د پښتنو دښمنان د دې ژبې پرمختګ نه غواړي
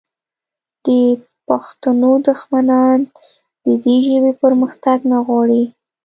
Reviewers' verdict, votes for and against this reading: accepted, 2, 0